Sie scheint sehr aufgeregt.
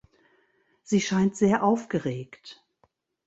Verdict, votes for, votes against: accepted, 2, 0